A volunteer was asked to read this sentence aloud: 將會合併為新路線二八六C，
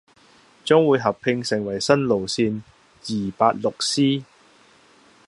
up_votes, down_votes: 0, 2